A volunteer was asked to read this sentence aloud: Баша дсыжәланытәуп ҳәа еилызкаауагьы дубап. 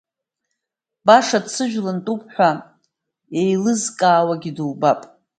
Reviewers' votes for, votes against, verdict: 2, 0, accepted